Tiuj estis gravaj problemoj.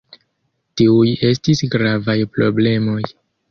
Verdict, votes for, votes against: rejected, 1, 2